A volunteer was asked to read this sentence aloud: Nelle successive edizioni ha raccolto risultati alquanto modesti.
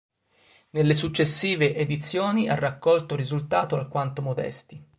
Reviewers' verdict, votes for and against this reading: rejected, 1, 2